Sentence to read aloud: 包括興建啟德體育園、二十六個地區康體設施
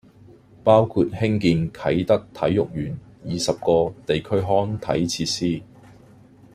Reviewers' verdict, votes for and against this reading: rejected, 0, 2